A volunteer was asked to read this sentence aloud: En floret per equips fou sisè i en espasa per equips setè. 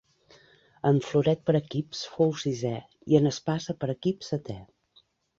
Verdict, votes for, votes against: accepted, 5, 0